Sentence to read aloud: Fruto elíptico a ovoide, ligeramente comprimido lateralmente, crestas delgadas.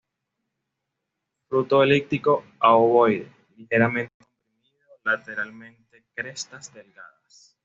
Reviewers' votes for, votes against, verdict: 1, 2, rejected